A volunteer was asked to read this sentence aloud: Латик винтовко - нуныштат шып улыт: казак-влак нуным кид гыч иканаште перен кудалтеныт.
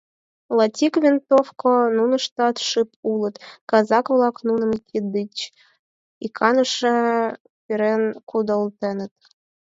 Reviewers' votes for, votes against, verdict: 2, 4, rejected